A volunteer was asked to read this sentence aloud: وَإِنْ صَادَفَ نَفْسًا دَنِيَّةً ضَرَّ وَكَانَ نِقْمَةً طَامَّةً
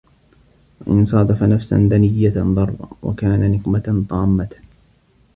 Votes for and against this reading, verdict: 1, 2, rejected